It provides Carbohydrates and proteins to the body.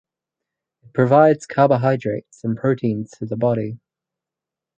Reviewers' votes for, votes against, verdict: 0, 4, rejected